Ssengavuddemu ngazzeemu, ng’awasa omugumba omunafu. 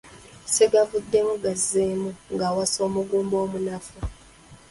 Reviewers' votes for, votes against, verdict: 1, 2, rejected